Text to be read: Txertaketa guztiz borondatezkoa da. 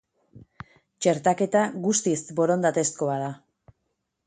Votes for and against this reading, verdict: 4, 0, accepted